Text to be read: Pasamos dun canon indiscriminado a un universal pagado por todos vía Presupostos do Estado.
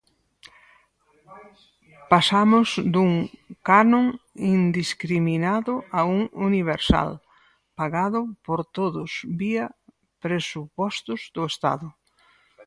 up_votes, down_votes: 2, 2